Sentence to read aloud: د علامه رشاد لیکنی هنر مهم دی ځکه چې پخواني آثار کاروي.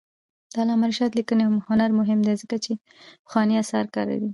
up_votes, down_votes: 1, 2